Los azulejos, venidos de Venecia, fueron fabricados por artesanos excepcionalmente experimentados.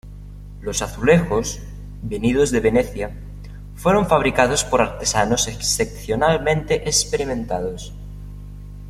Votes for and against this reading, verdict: 2, 0, accepted